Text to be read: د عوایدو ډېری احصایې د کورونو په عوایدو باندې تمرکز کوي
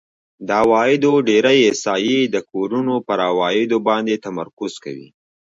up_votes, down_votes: 2, 0